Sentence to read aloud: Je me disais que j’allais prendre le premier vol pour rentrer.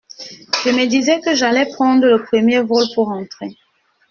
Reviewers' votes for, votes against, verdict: 0, 2, rejected